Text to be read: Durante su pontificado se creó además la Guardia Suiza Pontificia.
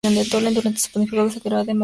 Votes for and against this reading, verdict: 0, 2, rejected